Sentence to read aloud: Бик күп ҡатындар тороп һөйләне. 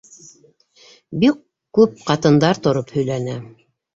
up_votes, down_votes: 2, 1